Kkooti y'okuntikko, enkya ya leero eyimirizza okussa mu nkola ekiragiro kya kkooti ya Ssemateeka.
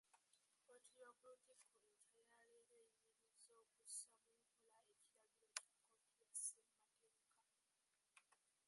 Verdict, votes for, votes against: rejected, 0, 2